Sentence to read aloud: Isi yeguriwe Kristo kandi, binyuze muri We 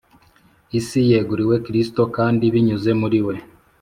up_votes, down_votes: 2, 0